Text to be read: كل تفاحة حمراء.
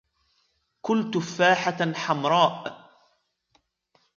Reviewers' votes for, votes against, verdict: 2, 0, accepted